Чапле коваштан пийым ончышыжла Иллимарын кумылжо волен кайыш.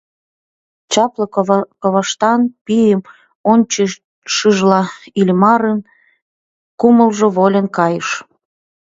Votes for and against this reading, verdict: 1, 2, rejected